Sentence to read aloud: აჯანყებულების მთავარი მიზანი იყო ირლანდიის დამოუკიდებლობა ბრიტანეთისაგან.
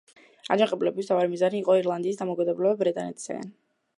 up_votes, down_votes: 0, 2